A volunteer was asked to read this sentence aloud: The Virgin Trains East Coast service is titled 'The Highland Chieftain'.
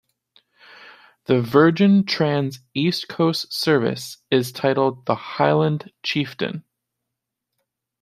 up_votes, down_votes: 2, 0